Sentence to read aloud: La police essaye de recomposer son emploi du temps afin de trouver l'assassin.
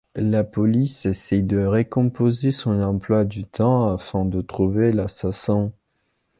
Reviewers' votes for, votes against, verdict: 0, 2, rejected